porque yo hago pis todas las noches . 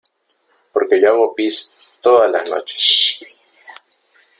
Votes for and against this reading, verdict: 0, 2, rejected